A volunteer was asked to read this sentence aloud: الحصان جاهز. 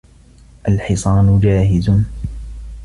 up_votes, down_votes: 2, 0